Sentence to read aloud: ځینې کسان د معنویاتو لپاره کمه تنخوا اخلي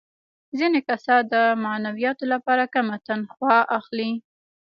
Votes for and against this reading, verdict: 1, 2, rejected